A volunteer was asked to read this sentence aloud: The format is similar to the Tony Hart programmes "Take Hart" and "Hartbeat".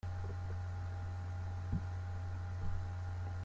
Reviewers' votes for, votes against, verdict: 0, 2, rejected